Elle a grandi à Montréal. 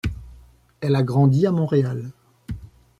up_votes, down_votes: 2, 0